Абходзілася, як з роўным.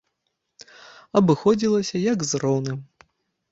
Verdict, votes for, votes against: rejected, 0, 2